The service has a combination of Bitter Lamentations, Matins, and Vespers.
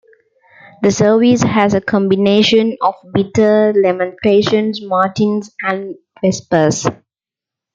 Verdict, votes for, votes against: accepted, 2, 0